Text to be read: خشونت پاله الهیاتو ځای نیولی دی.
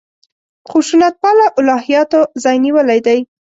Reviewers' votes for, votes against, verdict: 2, 0, accepted